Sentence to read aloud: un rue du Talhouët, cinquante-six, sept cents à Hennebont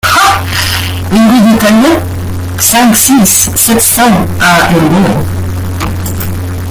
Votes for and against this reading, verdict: 0, 2, rejected